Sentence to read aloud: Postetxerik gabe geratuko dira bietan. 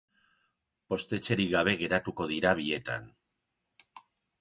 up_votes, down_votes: 2, 0